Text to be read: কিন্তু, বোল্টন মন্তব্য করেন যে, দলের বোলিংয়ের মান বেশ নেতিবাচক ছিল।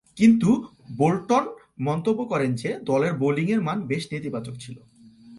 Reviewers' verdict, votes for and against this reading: accepted, 3, 0